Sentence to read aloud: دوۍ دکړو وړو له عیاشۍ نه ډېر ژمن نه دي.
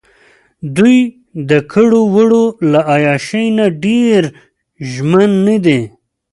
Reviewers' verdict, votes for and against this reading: rejected, 0, 2